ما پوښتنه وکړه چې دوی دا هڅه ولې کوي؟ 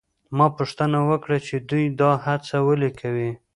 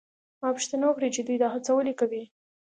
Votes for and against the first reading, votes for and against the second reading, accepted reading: 1, 2, 2, 0, second